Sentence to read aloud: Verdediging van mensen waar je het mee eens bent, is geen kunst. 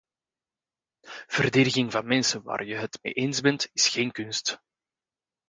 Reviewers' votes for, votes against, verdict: 2, 0, accepted